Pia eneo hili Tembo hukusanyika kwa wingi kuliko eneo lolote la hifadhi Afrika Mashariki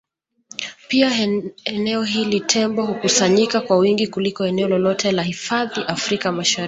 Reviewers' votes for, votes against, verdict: 0, 2, rejected